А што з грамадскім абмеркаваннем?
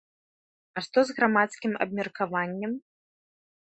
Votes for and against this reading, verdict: 2, 0, accepted